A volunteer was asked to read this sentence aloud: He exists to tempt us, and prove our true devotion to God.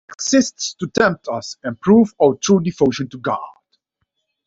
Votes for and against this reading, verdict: 2, 1, accepted